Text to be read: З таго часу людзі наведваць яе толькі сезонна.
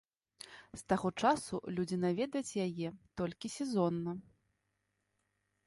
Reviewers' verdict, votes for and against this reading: rejected, 0, 2